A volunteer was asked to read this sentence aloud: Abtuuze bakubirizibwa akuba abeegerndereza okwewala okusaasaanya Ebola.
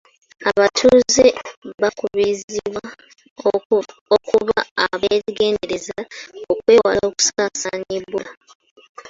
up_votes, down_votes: 2, 1